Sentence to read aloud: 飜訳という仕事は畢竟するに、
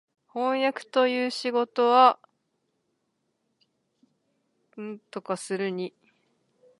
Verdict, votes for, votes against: rejected, 1, 7